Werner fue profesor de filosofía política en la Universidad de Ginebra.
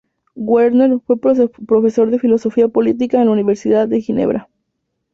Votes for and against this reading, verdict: 2, 0, accepted